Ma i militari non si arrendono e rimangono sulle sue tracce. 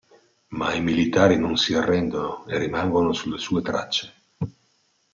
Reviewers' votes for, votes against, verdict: 2, 0, accepted